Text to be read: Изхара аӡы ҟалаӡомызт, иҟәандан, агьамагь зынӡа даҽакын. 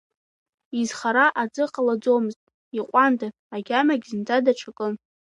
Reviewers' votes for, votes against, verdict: 2, 1, accepted